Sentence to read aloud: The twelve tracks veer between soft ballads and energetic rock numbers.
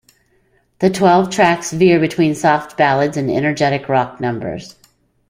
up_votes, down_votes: 3, 0